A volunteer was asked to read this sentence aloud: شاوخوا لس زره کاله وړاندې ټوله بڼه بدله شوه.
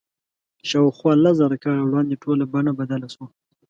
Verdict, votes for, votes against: accepted, 2, 0